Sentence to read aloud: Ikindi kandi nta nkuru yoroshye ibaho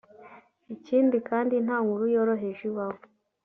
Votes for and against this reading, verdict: 1, 2, rejected